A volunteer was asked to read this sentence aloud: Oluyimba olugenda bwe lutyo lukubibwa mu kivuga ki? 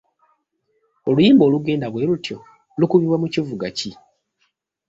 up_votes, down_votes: 3, 0